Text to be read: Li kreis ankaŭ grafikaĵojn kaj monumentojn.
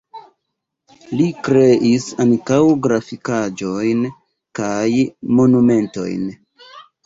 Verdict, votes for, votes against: accepted, 2, 1